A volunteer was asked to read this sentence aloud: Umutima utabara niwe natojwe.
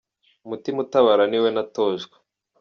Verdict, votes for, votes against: accepted, 2, 0